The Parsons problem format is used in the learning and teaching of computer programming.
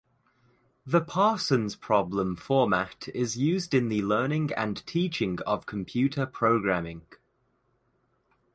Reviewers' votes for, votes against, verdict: 2, 0, accepted